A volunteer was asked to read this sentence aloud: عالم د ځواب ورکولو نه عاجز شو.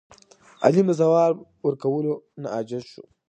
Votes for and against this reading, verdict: 2, 1, accepted